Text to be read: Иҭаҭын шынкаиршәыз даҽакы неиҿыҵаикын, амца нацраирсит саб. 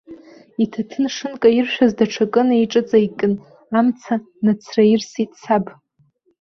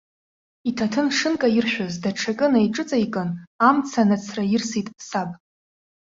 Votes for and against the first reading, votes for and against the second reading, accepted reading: 1, 2, 2, 0, second